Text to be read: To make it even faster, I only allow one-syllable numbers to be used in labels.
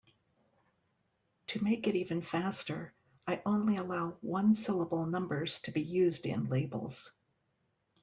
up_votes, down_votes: 3, 0